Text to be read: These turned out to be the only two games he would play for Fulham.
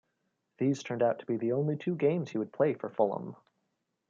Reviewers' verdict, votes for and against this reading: accepted, 2, 0